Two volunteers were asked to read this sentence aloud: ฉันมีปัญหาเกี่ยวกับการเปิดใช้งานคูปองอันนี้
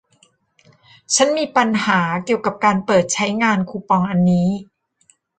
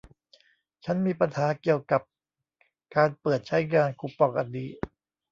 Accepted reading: first